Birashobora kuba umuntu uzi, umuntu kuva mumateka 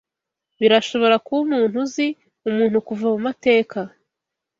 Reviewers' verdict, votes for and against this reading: accepted, 2, 0